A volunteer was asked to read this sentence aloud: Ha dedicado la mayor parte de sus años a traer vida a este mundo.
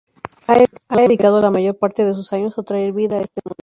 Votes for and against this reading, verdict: 0, 2, rejected